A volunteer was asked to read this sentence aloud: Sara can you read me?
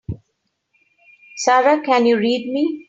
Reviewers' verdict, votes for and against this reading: accepted, 3, 0